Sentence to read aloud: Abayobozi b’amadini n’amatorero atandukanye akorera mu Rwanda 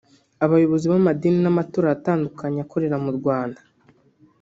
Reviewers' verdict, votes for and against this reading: rejected, 1, 2